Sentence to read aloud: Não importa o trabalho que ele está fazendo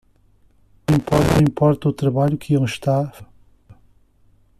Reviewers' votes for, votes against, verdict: 0, 2, rejected